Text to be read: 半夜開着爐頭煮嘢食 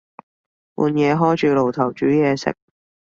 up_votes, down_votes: 2, 0